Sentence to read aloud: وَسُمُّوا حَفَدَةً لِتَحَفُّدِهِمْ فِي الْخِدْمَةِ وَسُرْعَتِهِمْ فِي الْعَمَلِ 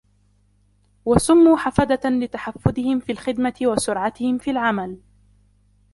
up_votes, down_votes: 1, 2